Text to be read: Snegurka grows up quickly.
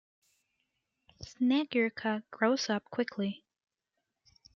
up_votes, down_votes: 2, 0